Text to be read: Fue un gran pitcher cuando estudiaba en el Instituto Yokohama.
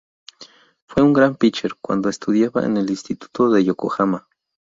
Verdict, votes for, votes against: rejected, 2, 2